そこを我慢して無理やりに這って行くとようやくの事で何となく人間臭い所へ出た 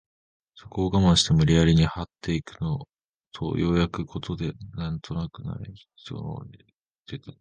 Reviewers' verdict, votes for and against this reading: rejected, 0, 5